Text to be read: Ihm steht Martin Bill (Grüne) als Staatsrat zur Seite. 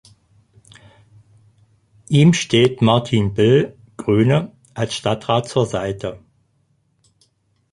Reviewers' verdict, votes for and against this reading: rejected, 0, 4